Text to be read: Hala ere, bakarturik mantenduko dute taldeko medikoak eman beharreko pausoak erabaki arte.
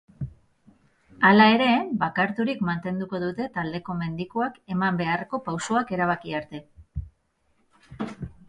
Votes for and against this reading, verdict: 0, 4, rejected